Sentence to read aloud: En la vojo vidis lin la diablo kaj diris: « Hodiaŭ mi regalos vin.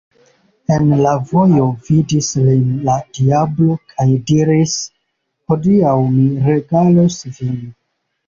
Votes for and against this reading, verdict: 1, 2, rejected